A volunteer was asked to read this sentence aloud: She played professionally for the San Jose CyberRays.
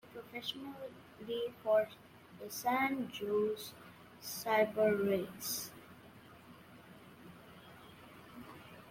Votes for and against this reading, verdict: 0, 2, rejected